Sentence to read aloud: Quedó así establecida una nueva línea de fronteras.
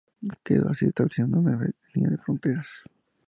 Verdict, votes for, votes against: accepted, 2, 0